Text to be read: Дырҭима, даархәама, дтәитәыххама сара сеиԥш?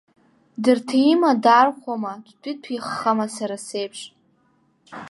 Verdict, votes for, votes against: accepted, 2, 1